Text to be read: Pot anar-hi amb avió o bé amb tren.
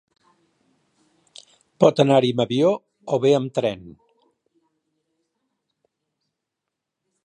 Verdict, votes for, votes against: accepted, 2, 1